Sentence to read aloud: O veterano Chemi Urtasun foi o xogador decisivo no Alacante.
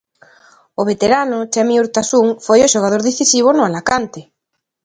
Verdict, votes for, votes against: accepted, 2, 1